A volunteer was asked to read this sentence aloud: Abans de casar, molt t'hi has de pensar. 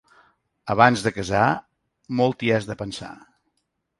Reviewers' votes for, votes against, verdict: 2, 0, accepted